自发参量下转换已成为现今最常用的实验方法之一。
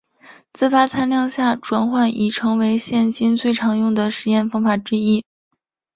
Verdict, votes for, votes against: accepted, 2, 1